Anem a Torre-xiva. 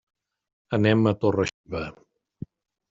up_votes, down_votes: 0, 2